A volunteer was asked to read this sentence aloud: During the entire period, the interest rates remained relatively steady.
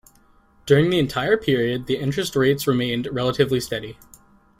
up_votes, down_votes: 2, 0